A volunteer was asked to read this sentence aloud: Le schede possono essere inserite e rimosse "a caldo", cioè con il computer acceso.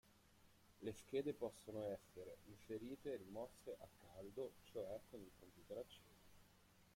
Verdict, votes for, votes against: rejected, 0, 2